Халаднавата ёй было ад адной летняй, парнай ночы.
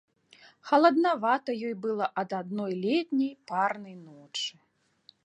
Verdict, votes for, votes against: rejected, 1, 2